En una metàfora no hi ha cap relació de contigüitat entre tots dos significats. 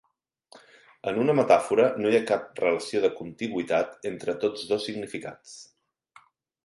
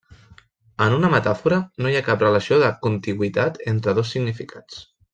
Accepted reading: first